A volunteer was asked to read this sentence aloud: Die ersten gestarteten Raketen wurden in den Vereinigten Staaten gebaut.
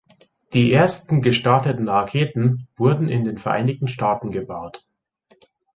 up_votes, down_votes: 2, 0